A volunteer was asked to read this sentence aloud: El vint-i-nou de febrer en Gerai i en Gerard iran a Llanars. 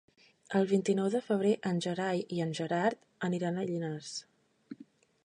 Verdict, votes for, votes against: rejected, 1, 2